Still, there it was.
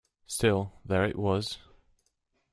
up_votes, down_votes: 2, 0